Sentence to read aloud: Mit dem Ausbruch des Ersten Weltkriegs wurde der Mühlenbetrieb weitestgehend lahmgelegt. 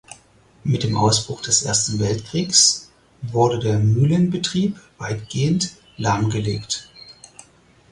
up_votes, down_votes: 0, 4